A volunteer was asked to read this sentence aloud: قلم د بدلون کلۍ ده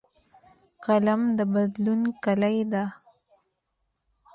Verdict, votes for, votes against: accepted, 2, 0